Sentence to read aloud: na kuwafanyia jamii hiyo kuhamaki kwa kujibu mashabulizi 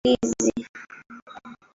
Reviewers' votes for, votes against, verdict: 0, 2, rejected